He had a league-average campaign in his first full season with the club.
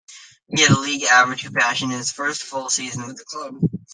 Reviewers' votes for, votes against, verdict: 1, 2, rejected